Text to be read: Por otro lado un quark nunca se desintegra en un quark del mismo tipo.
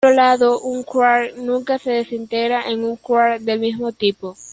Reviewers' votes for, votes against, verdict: 1, 2, rejected